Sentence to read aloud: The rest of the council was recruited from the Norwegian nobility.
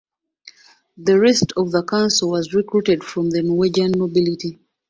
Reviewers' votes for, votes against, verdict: 2, 0, accepted